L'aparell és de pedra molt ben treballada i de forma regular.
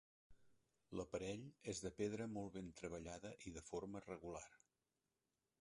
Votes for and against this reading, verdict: 1, 2, rejected